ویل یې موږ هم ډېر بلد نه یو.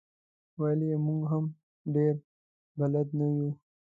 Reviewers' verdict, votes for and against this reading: accepted, 2, 1